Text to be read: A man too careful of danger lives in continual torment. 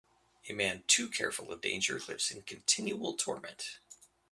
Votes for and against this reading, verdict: 2, 0, accepted